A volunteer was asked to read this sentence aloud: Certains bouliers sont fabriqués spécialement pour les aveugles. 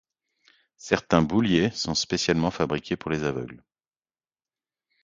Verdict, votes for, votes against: accepted, 2, 1